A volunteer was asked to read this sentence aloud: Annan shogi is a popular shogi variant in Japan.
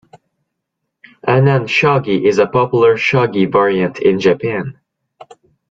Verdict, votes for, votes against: accepted, 2, 0